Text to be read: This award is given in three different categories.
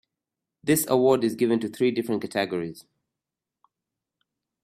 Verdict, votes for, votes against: rejected, 1, 2